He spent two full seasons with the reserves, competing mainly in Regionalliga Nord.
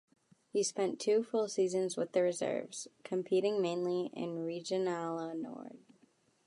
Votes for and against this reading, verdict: 1, 2, rejected